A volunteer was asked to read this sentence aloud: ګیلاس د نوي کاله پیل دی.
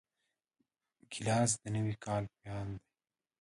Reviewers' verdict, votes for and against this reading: rejected, 1, 2